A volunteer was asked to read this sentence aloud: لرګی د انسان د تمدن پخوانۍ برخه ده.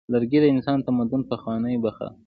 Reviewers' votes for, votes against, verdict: 0, 2, rejected